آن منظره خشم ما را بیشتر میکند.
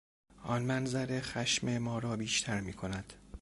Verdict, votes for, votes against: accepted, 2, 0